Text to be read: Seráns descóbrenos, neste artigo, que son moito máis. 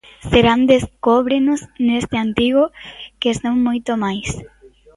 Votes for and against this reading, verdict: 0, 2, rejected